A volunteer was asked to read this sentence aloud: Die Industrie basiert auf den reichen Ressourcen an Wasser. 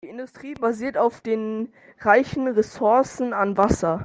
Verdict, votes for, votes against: accepted, 2, 0